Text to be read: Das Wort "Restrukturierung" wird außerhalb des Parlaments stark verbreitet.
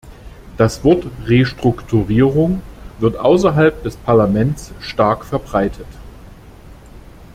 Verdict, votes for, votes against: accepted, 2, 1